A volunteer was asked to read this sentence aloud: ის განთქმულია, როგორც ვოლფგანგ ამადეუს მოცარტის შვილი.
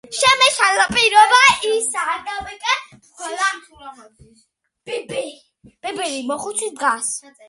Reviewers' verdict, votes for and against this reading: rejected, 0, 2